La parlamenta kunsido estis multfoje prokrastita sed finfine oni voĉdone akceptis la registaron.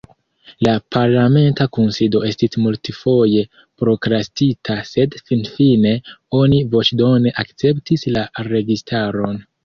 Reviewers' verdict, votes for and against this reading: rejected, 1, 2